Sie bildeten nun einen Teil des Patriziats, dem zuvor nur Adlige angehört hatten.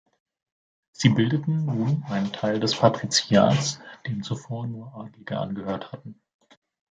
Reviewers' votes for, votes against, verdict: 2, 0, accepted